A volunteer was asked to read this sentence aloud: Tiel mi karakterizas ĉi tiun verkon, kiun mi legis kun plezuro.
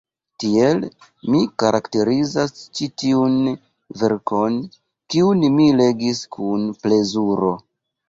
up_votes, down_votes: 2, 0